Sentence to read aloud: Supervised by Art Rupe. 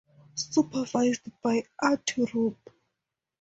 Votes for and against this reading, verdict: 4, 0, accepted